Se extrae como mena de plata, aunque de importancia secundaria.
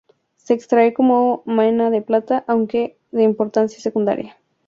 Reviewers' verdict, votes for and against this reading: accepted, 4, 0